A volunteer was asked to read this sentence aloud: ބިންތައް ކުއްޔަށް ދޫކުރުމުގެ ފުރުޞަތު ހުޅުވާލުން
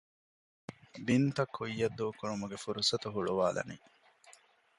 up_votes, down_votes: 0, 2